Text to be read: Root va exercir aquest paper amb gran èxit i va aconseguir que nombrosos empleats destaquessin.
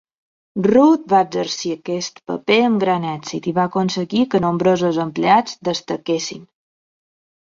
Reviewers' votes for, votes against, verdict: 3, 0, accepted